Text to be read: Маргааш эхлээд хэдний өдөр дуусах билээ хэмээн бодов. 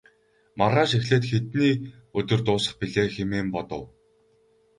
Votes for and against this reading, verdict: 2, 2, rejected